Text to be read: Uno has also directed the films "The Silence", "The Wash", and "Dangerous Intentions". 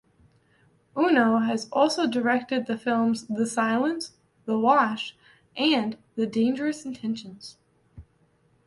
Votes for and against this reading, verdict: 2, 1, accepted